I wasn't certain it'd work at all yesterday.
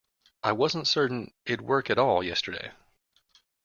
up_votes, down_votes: 1, 2